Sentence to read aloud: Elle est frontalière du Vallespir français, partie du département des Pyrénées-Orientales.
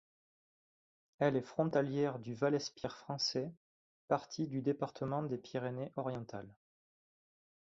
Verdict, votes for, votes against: accepted, 2, 0